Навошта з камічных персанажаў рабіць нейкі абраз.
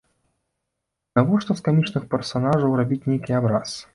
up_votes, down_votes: 2, 0